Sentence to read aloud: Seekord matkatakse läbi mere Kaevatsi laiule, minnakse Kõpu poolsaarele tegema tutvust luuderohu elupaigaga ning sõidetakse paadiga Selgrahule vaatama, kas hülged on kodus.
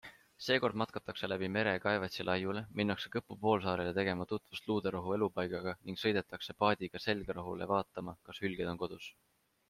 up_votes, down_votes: 2, 0